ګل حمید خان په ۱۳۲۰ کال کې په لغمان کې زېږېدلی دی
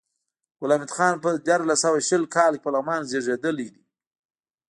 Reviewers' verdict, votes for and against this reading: rejected, 0, 2